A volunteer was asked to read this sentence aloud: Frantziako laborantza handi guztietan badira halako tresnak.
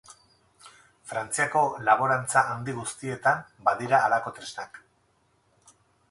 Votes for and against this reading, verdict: 0, 4, rejected